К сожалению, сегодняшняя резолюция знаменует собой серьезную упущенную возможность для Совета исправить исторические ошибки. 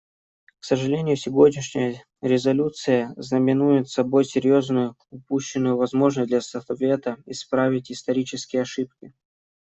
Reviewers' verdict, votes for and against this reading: rejected, 1, 2